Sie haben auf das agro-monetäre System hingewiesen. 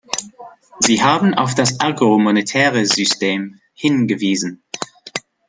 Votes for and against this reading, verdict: 2, 0, accepted